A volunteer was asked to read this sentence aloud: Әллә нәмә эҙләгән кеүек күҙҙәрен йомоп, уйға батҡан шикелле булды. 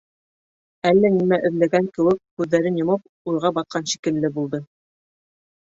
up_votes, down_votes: 2, 0